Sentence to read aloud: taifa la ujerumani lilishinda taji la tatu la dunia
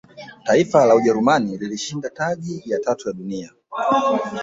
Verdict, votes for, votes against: rejected, 0, 2